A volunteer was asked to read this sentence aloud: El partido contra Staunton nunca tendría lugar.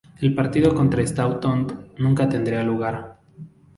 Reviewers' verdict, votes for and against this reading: accepted, 8, 2